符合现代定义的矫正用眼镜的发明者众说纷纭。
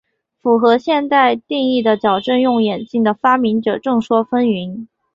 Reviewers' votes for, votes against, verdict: 3, 0, accepted